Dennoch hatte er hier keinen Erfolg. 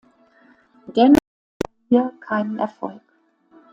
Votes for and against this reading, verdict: 0, 2, rejected